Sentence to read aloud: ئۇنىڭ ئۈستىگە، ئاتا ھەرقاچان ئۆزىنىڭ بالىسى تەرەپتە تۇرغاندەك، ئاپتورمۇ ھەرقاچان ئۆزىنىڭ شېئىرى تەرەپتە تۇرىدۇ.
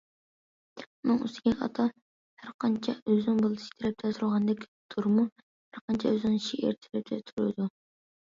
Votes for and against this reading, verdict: 0, 2, rejected